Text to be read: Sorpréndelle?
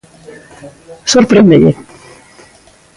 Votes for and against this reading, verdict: 2, 0, accepted